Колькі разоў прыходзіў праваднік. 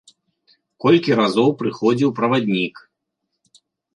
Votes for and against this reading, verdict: 2, 0, accepted